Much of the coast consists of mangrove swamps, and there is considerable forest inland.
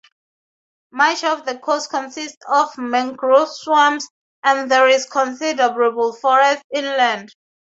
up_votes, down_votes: 4, 0